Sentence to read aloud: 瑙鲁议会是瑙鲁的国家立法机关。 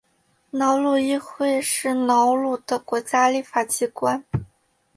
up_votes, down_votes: 3, 0